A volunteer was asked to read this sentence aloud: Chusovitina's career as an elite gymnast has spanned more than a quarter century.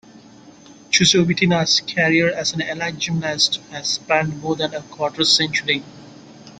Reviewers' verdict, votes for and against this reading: accepted, 2, 0